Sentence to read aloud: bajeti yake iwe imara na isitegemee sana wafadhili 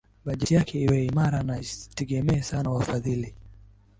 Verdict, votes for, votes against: accepted, 2, 1